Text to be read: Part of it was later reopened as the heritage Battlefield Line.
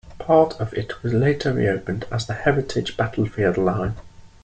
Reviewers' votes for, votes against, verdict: 3, 0, accepted